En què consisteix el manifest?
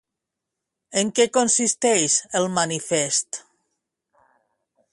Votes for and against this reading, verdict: 2, 0, accepted